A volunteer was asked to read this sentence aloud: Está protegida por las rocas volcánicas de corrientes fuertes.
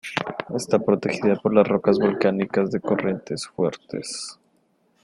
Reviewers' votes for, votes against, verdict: 2, 0, accepted